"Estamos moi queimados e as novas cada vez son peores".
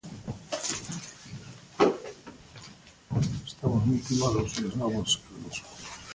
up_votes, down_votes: 0, 2